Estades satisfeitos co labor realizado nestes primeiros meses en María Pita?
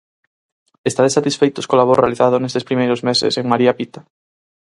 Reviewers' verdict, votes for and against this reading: rejected, 2, 2